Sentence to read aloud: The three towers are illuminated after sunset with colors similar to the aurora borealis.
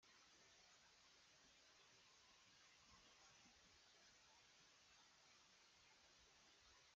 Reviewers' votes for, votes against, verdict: 0, 2, rejected